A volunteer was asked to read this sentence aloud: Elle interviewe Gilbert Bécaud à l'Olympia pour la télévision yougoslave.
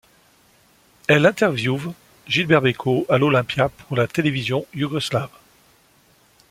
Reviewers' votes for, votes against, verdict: 2, 0, accepted